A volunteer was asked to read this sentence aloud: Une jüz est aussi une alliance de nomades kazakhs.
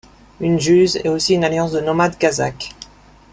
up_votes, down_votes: 2, 0